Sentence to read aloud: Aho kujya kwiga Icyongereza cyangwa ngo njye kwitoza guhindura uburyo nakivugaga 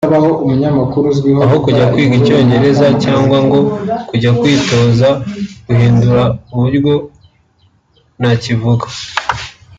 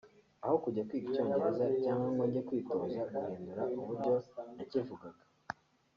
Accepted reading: second